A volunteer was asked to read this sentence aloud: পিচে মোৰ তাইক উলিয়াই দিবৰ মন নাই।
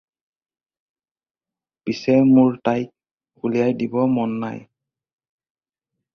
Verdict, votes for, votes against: rejected, 0, 2